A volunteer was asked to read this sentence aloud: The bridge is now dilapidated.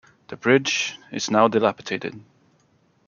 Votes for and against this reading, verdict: 2, 0, accepted